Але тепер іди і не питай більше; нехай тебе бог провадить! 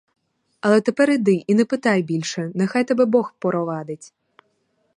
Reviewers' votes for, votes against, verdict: 4, 2, accepted